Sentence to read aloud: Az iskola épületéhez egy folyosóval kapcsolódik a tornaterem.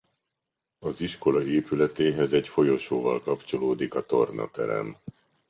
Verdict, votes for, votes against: accepted, 2, 0